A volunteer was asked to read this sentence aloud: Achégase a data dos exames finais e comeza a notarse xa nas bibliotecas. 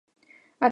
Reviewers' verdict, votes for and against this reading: rejected, 0, 2